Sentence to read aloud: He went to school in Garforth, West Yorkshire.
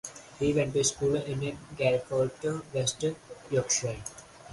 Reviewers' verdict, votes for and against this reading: accepted, 4, 0